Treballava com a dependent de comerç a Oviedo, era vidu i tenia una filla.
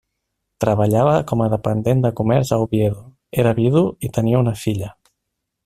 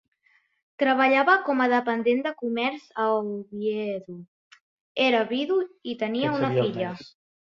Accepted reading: first